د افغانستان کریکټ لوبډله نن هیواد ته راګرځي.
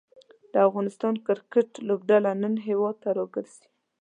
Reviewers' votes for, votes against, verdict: 2, 0, accepted